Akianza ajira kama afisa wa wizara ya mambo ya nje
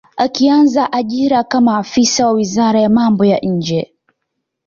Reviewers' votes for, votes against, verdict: 2, 0, accepted